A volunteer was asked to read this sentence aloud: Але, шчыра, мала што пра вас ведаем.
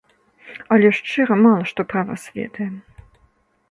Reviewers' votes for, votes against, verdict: 3, 0, accepted